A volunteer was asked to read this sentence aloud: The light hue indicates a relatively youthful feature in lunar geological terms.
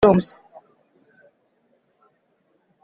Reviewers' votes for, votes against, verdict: 0, 3, rejected